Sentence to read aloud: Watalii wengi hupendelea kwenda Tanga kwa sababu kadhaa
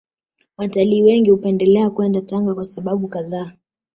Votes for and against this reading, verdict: 2, 0, accepted